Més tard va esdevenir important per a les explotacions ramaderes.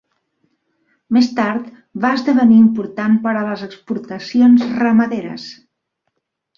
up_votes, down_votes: 1, 3